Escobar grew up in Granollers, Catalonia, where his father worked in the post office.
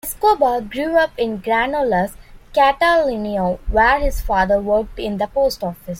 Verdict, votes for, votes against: accepted, 2, 0